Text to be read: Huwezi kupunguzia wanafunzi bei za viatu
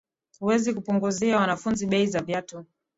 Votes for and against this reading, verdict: 2, 0, accepted